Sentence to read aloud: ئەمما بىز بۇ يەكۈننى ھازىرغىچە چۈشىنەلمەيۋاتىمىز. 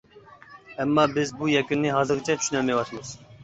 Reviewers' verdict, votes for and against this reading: accepted, 2, 0